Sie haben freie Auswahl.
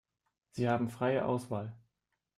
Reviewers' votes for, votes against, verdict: 2, 0, accepted